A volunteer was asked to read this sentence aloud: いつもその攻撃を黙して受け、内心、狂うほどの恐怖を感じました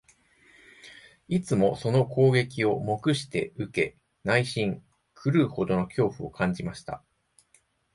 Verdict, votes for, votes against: accepted, 2, 0